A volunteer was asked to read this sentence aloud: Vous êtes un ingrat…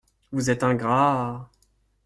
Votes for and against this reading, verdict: 0, 2, rejected